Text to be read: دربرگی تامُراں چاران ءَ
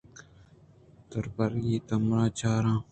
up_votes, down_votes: 1, 2